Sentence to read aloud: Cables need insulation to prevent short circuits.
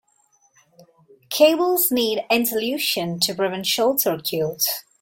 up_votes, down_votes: 0, 2